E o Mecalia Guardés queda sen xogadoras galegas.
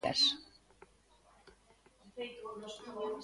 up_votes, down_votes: 0, 2